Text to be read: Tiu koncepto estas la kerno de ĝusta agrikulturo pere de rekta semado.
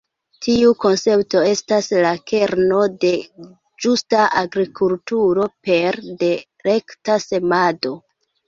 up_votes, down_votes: 1, 2